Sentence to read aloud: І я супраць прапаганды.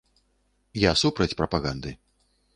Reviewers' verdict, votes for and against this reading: rejected, 1, 2